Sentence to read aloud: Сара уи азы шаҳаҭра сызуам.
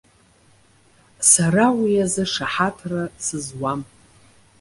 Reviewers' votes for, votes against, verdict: 2, 0, accepted